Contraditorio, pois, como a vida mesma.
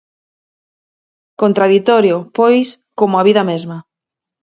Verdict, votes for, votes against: accepted, 4, 0